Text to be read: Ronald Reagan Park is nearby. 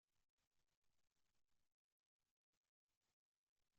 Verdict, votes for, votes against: rejected, 0, 2